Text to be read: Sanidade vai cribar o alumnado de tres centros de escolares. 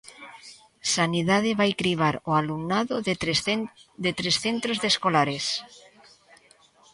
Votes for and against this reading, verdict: 0, 2, rejected